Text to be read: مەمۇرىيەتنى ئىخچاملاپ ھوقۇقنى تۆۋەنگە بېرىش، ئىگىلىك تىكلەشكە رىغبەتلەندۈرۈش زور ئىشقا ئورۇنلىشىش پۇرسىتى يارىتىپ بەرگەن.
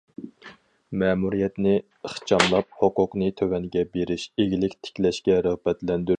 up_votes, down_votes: 2, 4